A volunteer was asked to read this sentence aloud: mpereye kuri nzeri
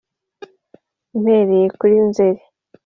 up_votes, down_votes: 2, 0